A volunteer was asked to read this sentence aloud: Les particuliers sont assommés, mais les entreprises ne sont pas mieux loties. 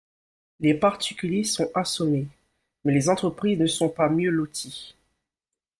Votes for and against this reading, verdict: 1, 2, rejected